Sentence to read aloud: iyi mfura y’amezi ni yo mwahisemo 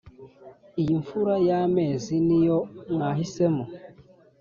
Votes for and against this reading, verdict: 2, 0, accepted